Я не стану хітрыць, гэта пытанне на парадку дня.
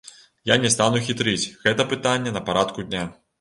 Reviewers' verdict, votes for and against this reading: accepted, 2, 0